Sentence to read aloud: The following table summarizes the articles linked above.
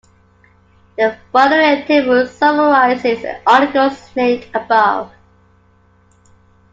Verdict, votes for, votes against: accepted, 2, 1